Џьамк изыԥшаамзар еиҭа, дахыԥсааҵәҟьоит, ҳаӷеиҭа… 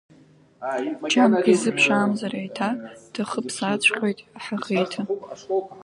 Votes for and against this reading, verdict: 0, 2, rejected